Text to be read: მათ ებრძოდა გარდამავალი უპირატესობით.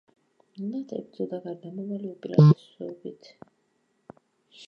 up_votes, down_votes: 1, 2